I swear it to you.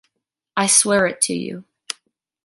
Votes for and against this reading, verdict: 3, 0, accepted